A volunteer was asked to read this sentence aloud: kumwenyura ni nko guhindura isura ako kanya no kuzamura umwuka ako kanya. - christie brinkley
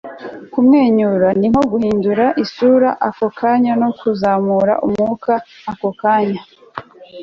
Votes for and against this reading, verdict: 1, 2, rejected